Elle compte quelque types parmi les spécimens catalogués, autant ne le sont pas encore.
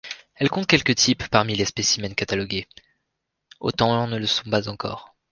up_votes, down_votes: 2, 0